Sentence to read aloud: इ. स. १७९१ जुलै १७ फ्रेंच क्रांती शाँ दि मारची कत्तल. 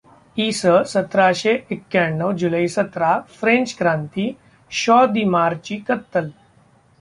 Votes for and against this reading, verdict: 0, 2, rejected